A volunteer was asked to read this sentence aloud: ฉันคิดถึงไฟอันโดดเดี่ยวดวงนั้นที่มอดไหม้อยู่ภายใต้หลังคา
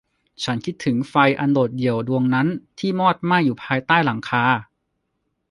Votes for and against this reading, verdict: 2, 0, accepted